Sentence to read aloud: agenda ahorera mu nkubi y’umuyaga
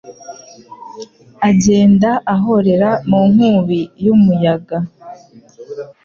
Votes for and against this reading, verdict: 2, 0, accepted